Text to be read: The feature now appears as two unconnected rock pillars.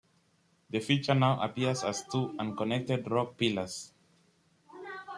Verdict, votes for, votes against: accepted, 2, 1